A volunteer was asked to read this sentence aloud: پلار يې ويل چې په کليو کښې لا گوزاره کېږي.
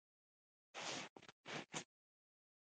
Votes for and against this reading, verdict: 1, 2, rejected